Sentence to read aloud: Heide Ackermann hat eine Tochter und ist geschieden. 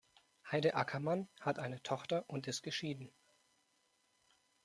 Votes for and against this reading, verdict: 2, 0, accepted